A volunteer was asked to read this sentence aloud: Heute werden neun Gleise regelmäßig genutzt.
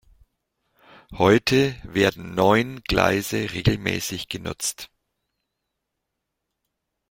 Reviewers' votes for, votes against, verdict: 2, 0, accepted